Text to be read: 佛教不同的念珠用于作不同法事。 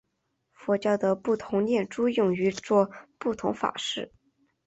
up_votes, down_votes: 0, 2